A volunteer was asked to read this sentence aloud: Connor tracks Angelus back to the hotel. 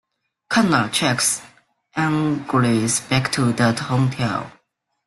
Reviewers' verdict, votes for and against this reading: rejected, 0, 2